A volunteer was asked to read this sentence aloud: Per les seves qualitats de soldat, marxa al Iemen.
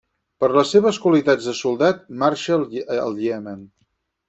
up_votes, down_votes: 2, 4